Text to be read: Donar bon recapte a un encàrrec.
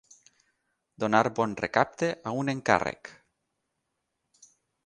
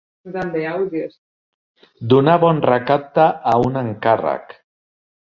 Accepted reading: first